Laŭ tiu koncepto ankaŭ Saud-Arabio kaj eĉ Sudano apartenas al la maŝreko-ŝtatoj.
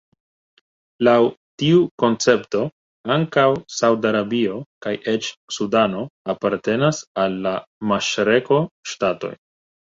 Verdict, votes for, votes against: accepted, 2, 1